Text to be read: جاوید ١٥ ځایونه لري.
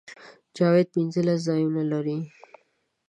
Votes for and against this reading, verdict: 0, 2, rejected